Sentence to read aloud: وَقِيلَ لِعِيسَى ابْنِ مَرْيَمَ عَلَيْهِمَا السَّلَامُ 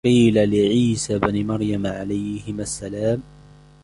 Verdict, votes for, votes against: accepted, 2, 0